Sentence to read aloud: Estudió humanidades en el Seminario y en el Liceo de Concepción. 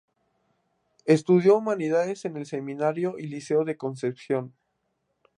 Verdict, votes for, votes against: rejected, 0, 2